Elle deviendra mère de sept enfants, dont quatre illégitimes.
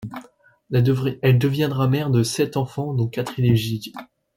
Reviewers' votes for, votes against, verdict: 0, 2, rejected